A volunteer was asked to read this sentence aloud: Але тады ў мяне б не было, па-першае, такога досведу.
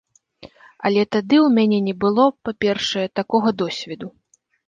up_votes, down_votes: 0, 2